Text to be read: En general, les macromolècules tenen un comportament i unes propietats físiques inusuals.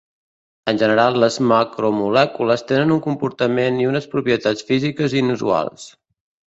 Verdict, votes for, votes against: accepted, 2, 1